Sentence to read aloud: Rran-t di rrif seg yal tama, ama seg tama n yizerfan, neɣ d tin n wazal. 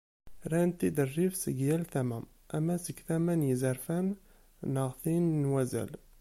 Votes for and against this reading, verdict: 1, 2, rejected